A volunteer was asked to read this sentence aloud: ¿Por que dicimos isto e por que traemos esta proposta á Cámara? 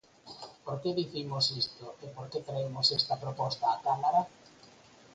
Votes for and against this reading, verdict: 0, 4, rejected